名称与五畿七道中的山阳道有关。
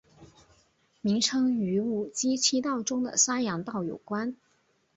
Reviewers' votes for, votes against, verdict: 2, 0, accepted